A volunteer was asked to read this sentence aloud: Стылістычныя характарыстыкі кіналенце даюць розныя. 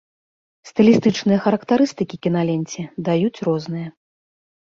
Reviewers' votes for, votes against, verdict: 2, 0, accepted